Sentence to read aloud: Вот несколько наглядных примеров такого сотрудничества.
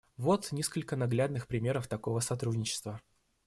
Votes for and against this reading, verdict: 2, 0, accepted